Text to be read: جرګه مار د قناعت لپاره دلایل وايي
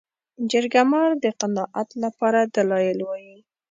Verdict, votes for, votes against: accepted, 2, 0